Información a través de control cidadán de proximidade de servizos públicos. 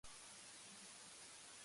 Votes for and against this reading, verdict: 0, 2, rejected